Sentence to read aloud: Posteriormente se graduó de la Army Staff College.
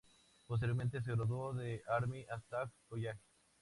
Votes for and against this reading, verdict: 0, 2, rejected